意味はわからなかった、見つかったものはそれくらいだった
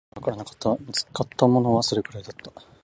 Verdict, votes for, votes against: rejected, 0, 2